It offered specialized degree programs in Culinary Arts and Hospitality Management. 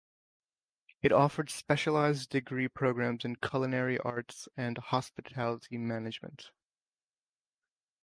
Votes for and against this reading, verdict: 2, 1, accepted